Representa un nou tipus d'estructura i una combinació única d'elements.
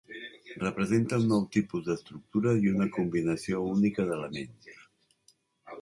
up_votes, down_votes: 0, 2